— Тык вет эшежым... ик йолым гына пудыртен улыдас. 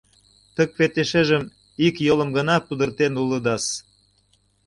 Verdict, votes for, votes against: accepted, 2, 1